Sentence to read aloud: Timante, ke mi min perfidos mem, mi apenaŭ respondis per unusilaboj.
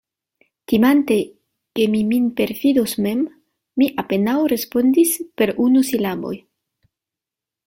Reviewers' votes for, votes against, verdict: 2, 0, accepted